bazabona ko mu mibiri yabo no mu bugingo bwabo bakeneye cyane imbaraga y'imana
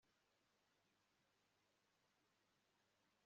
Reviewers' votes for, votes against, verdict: 1, 2, rejected